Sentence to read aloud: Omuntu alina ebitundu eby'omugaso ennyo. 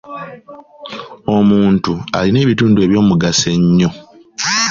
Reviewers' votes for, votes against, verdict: 2, 0, accepted